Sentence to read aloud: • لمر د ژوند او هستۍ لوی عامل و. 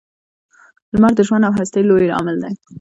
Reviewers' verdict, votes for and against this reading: rejected, 0, 2